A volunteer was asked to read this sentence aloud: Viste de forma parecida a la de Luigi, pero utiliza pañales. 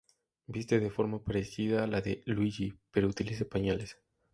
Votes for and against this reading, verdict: 2, 0, accepted